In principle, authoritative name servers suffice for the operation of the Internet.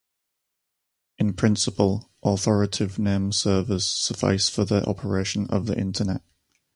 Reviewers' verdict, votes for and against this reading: rejected, 2, 2